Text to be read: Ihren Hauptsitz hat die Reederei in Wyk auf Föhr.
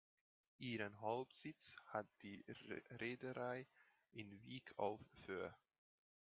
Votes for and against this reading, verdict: 0, 2, rejected